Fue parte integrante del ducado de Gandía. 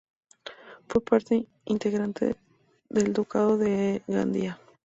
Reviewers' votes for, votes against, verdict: 2, 0, accepted